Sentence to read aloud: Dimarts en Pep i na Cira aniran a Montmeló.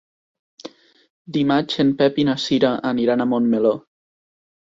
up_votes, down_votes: 1, 2